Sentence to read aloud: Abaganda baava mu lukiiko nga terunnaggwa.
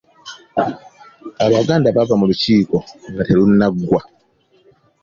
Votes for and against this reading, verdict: 2, 0, accepted